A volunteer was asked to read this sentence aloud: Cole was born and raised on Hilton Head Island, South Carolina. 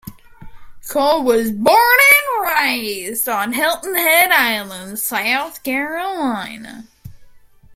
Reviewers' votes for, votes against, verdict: 0, 2, rejected